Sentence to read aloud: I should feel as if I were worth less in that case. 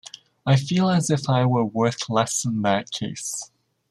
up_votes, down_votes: 1, 2